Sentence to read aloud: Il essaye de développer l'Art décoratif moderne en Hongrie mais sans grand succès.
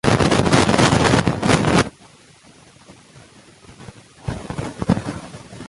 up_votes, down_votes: 0, 2